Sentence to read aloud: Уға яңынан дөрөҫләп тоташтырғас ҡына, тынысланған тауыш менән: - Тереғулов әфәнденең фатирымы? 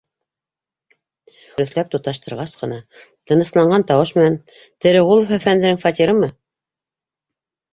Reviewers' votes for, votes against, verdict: 1, 2, rejected